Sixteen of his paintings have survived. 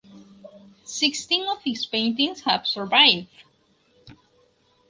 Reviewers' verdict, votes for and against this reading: rejected, 2, 2